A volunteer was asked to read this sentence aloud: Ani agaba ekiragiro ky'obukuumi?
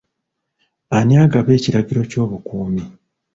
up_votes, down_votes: 2, 1